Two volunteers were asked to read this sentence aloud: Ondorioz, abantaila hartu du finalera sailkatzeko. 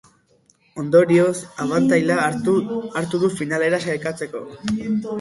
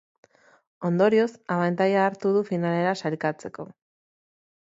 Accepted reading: second